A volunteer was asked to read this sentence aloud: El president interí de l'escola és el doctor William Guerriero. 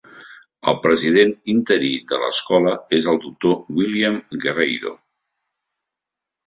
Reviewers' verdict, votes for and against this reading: rejected, 0, 2